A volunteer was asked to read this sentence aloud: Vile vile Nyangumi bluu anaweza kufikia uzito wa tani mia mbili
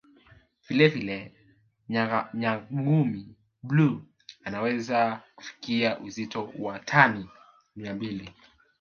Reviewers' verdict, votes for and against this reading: rejected, 0, 2